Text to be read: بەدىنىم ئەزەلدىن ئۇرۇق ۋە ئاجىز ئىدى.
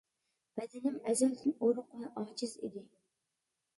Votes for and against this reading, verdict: 2, 0, accepted